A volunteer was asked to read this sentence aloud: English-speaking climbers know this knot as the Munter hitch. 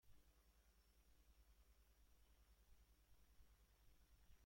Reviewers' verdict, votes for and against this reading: rejected, 0, 2